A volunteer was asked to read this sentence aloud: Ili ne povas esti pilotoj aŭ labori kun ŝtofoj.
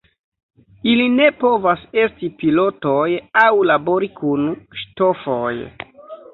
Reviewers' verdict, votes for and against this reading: rejected, 0, 2